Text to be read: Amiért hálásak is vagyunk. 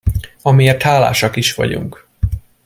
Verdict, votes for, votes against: accepted, 2, 0